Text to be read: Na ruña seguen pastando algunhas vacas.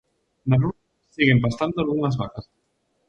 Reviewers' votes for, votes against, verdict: 0, 2, rejected